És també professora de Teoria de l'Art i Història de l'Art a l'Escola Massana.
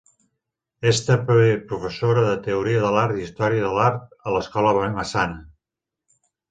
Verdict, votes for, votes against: rejected, 1, 2